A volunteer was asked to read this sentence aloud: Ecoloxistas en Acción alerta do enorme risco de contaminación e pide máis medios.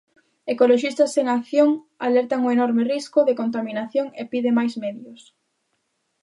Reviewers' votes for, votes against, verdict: 0, 2, rejected